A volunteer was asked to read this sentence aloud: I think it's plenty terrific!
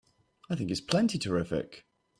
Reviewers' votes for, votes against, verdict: 2, 0, accepted